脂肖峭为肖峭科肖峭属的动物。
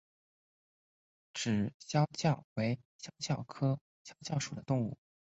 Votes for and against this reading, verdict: 3, 0, accepted